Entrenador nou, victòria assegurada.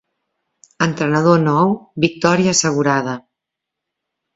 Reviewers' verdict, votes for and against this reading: accepted, 2, 0